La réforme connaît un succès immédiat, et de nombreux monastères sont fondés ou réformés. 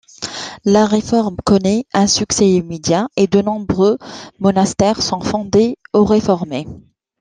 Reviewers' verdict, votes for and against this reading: accepted, 2, 0